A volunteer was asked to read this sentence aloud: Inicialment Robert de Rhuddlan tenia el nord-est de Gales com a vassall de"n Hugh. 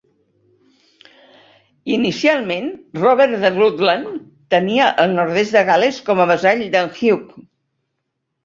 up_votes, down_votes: 2, 0